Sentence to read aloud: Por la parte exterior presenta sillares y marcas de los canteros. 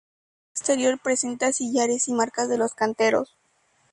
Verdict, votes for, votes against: rejected, 0, 2